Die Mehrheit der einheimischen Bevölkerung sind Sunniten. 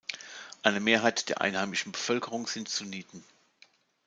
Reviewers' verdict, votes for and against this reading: rejected, 0, 2